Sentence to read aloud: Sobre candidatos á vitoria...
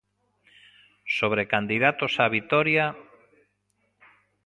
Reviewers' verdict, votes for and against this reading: rejected, 1, 2